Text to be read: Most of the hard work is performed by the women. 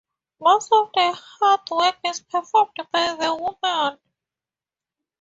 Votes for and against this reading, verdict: 4, 0, accepted